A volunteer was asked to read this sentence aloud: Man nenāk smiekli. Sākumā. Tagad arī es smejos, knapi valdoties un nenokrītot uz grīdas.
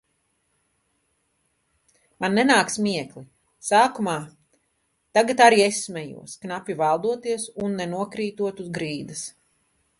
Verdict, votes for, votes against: accepted, 2, 0